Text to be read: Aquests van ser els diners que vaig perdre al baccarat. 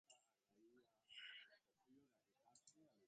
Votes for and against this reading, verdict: 0, 2, rejected